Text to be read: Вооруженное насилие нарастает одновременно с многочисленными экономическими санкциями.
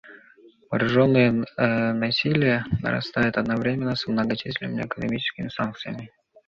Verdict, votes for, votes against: accepted, 2, 0